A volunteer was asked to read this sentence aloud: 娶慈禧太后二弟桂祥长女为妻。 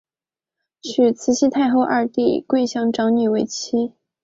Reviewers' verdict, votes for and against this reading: accepted, 5, 0